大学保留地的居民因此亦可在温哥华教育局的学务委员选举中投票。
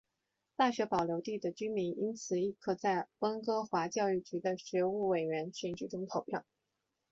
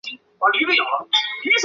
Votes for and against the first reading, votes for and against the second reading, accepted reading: 2, 0, 0, 6, first